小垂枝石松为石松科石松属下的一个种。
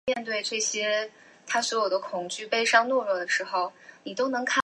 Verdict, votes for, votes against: rejected, 0, 2